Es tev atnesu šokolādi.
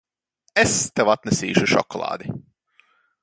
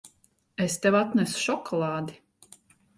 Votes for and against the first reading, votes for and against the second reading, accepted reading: 1, 3, 2, 0, second